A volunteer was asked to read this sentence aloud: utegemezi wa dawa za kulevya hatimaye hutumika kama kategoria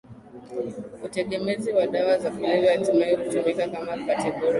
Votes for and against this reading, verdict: 4, 1, accepted